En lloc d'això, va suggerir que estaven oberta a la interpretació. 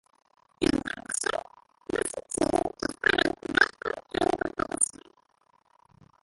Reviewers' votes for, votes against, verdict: 1, 2, rejected